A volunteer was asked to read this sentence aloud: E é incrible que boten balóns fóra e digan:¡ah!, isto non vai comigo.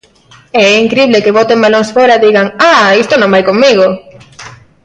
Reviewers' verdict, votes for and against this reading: accepted, 2, 0